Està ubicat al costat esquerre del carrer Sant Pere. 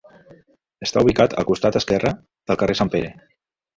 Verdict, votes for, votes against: accepted, 2, 0